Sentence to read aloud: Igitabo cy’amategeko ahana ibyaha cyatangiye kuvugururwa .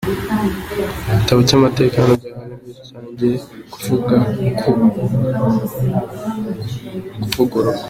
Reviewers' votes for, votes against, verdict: 0, 2, rejected